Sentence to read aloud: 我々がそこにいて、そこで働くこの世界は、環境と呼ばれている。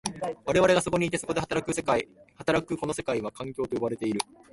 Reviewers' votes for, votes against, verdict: 1, 2, rejected